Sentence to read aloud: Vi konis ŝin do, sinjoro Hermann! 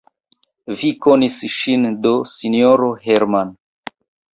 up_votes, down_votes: 1, 2